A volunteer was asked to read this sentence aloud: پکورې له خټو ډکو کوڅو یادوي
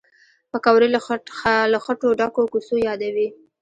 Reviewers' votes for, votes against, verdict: 1, 2, rejected